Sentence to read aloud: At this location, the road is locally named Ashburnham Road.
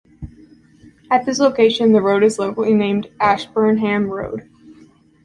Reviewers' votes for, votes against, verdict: 2, 0, accepted